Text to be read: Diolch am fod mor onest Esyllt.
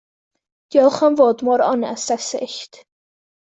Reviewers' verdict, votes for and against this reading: accepted, 2, 0